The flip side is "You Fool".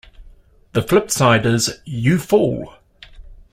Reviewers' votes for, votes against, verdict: 2, 0, accepted